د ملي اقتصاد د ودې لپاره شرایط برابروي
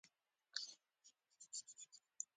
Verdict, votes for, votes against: rejected, 0, 2